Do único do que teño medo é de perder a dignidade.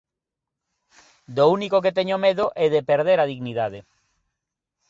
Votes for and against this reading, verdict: 2, 0, accepted